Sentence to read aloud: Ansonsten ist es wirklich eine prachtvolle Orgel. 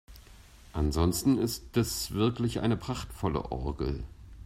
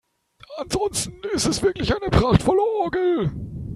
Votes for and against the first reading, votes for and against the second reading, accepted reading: 2, 0, 2, 3, first